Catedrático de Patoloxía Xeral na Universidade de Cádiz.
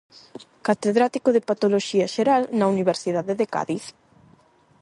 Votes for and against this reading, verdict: 8, 0, accepted